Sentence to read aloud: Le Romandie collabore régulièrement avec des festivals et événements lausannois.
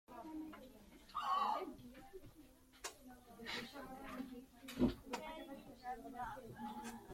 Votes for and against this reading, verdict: 0, 2, rejected